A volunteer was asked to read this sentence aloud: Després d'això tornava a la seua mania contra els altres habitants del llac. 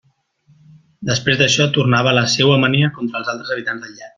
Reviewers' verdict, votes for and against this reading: accepted, 2, 0